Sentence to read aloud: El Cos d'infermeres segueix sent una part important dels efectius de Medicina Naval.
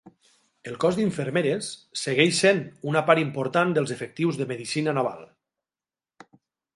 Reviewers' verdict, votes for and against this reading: accepted, 3, 0